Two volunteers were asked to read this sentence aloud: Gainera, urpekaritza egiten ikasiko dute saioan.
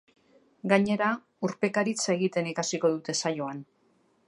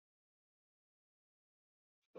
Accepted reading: first